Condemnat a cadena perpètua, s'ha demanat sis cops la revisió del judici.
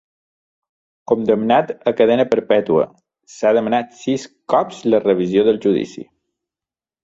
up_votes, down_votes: 2, 0